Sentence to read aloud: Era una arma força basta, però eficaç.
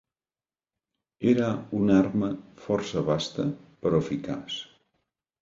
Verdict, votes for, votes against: accepted, 2, 0